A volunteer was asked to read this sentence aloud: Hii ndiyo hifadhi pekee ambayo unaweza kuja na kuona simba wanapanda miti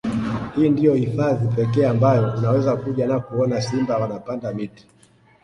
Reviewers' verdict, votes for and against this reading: rejected, 0, 2